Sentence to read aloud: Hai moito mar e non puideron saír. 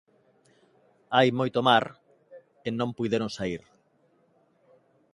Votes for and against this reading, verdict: 2, 0, accepted